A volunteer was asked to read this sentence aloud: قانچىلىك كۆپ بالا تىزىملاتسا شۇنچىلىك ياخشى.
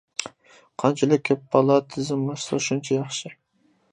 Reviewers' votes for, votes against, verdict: 0, 2, rejected